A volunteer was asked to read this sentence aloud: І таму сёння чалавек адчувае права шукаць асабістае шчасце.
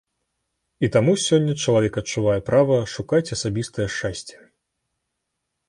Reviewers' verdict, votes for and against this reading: accepted, 2, 0